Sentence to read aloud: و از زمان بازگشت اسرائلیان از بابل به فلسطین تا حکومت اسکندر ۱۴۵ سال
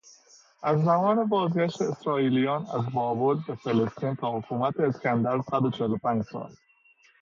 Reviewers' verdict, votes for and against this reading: rejected, 0, 2